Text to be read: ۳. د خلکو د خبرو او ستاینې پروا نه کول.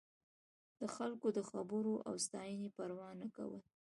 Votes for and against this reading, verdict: 0, 2, rejected